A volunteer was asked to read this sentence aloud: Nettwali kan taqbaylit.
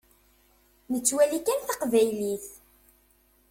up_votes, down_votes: 2, 0